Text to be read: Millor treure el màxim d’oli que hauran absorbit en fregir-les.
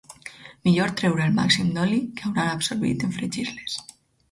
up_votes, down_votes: 2, 2